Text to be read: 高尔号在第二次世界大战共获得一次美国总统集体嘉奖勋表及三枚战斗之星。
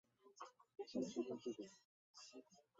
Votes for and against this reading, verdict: 0, 2, rejected